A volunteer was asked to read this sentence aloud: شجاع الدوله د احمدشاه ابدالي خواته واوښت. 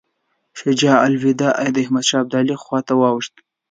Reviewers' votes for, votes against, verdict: 2, 0, accepted